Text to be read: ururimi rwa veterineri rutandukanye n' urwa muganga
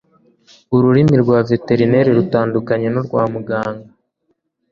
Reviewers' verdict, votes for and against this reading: accepted, 2, 0